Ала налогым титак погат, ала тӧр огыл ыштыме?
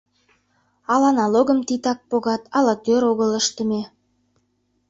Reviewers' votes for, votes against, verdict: 2, 0, accepted